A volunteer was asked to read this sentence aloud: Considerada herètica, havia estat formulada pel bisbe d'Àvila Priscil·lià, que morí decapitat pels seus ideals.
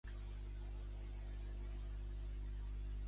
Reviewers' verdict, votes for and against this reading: rejected, 0, 2